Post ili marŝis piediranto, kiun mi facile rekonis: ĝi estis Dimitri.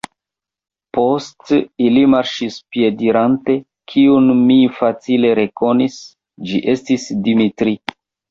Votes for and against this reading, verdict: 0, 2, rejected